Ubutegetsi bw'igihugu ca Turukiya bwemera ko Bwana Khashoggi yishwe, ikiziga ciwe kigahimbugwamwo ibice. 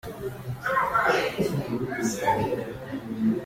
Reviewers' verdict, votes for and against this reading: rejected, 0, 2